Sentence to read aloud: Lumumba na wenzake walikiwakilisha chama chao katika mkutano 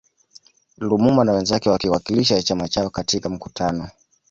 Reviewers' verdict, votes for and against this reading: rejected, 1, 2